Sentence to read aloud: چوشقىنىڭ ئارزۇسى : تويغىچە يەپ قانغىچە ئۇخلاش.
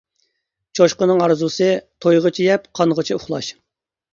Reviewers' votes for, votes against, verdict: 2, 0, accepted